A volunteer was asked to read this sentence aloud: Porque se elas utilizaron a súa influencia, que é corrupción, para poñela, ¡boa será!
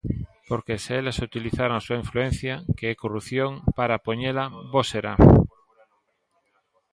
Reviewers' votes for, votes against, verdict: 0, 2, rejected